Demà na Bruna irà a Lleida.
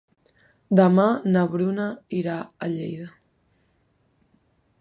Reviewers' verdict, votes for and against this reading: accepted, 2, 0